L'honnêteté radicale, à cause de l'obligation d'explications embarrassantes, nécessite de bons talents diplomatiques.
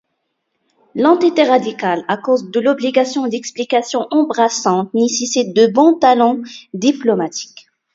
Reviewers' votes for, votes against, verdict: 0, 2, rejected